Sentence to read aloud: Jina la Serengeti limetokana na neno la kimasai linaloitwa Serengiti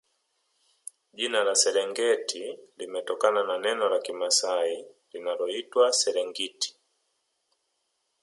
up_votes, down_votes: 2, 0